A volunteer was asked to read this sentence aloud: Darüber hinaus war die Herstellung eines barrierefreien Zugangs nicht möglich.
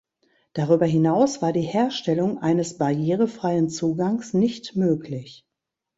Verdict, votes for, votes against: rejected, 0, 2